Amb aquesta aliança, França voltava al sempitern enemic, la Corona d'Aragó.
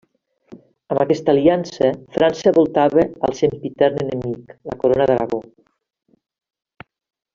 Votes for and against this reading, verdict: 2, 0, accepted